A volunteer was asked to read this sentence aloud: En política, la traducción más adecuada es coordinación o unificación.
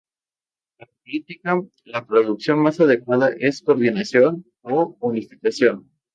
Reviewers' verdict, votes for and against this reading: rejected, 0, 2